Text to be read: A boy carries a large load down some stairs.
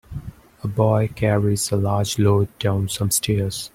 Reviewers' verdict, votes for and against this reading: accepted, 2, 0